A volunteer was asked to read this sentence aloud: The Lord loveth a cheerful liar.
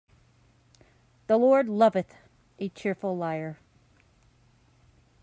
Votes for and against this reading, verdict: 2, 0, accepted